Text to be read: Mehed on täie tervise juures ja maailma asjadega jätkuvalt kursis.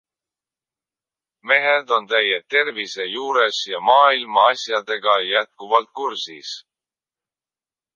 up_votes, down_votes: 2, 0